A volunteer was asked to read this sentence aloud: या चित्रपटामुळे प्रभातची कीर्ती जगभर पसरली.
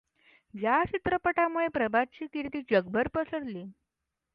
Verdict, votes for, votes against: accepted, 2, 0